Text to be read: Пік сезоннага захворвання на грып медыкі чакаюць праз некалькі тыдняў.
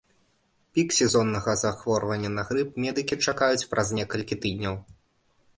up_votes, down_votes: 2, 0